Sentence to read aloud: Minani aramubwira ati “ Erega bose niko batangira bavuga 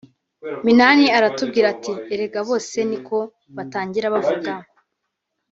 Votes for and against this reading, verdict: 2, 0, accepted